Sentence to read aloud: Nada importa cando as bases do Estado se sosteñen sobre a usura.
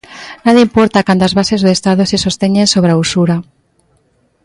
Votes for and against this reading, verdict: 2, 0, accepted